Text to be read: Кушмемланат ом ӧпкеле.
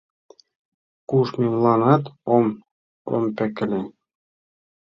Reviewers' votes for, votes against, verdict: 1, 2, rejected